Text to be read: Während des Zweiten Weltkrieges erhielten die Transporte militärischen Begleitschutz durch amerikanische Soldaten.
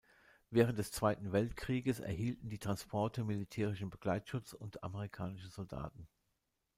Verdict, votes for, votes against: rejected, 1, 2